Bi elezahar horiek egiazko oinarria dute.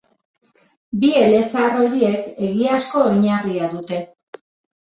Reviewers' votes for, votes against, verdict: 3, 0, accepted